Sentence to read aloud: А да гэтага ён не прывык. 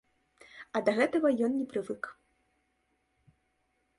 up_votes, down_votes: 1, 2